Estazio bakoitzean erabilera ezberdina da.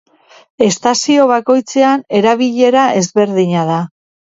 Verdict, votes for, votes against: accepted, 2, 0